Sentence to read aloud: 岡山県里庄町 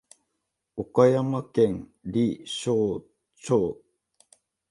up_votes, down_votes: 0, 2